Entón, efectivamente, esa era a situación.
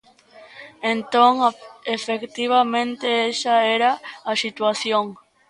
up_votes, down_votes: 0, 2